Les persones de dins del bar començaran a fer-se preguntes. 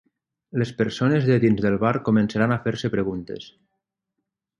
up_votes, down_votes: 9, 0